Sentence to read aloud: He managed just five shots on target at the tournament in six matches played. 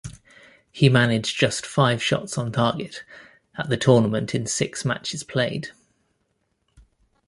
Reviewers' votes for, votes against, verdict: 2, 0, accepted